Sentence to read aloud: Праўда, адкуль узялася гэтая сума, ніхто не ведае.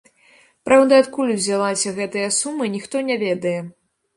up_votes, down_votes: 2, 0